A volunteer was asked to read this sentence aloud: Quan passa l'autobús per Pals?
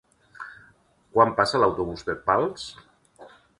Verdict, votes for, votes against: accepted, 2, 0